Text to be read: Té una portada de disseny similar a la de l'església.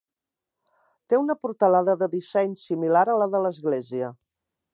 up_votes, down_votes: 1, 2